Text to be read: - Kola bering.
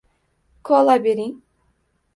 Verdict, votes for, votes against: accepted, 2, 0